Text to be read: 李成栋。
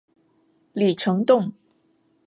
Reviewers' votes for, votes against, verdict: 2, 0, accepted